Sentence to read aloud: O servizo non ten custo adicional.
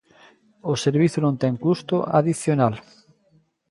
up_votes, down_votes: 2, 0